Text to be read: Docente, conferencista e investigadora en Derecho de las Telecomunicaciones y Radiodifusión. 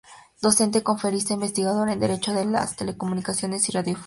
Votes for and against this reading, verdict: 2, 0, accepted